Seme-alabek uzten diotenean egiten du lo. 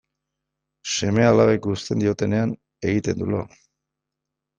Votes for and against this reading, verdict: 2, 0, accepted